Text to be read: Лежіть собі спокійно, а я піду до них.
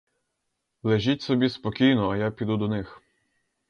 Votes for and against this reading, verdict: 4, 0, accepted